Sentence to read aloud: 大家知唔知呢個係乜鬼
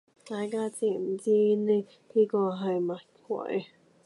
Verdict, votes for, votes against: rejected, 1, 2